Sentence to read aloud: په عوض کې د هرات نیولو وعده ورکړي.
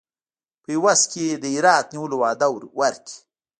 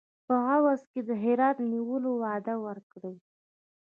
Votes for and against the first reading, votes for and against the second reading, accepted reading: 2, 1, 1, 2, first